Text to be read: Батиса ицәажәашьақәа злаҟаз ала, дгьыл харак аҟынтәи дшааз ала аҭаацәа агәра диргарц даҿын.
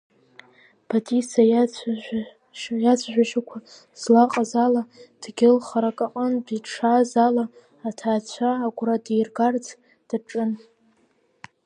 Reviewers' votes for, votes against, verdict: 1, 2, rejected